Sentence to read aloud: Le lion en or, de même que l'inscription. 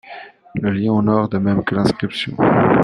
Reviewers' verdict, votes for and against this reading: accepted, 2, 1